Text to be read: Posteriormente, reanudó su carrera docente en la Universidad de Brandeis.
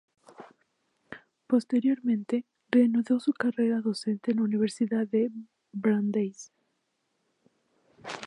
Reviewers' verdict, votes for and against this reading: rejected, 0, 2